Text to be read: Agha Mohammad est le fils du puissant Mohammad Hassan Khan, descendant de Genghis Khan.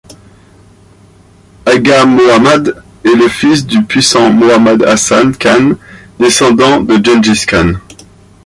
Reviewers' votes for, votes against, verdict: 0, 2, rejected